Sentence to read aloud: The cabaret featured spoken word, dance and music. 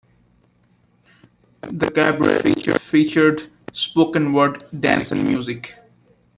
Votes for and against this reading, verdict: 1, 2, rejected